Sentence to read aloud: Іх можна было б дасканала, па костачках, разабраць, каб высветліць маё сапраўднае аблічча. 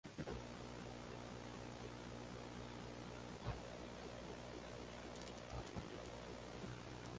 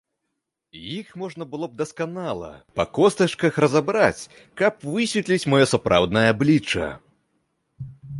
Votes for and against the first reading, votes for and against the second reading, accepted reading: 0, 2, 3, 0, second